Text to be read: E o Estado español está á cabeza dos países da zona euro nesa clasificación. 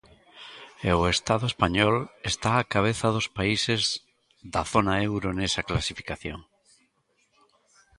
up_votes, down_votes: 2, 0